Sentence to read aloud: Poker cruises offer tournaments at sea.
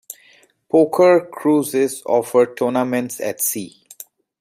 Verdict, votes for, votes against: accepted, 2, 1